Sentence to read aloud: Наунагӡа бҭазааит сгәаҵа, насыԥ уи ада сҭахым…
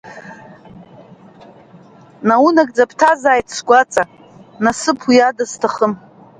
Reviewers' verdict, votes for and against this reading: accepted, 2, 1